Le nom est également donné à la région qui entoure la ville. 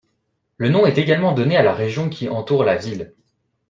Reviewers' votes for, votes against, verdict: 2, 1, accepted